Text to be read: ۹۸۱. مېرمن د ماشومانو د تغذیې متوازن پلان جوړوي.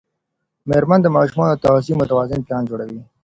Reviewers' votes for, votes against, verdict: 0, 2, rejected